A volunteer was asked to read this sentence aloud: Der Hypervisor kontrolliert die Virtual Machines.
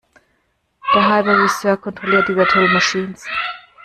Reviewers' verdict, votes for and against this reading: rejected, 1, 2